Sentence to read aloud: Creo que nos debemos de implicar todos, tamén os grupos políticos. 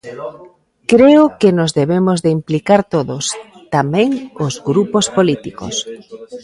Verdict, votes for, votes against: accepted, 2, 1